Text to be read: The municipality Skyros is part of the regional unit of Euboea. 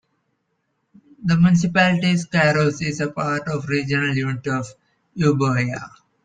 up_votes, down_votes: 2, 1